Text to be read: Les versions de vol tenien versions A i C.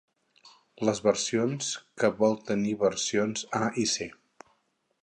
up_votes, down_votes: 0, 4